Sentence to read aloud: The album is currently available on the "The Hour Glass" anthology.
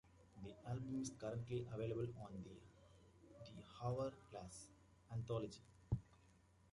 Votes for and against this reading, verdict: 2, 1, accepted